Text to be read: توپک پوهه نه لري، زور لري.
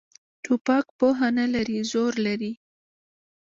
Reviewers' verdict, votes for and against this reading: rejected, 0, 2